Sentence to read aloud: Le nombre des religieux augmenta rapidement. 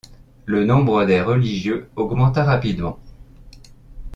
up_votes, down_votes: 2, 0